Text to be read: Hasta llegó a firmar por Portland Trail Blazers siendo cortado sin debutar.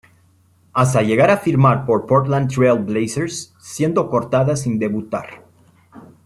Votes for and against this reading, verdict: 0, 2, rejected